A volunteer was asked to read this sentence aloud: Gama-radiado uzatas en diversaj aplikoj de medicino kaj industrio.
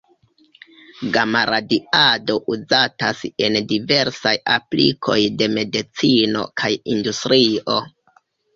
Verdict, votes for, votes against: rejected, 1, 2